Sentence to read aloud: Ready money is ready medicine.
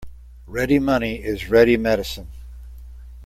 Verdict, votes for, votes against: accepted, 2, 0